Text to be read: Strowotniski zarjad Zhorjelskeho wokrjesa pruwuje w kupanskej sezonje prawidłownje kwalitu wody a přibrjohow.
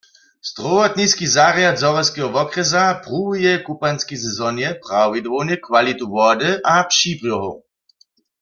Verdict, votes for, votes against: accepted, 2, 0